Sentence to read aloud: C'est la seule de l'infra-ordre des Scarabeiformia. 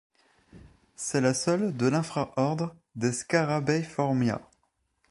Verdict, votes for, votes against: accepted, 3, 0